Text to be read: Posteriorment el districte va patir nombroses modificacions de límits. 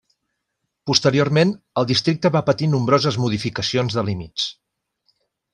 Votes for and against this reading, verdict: 3, 0, accepted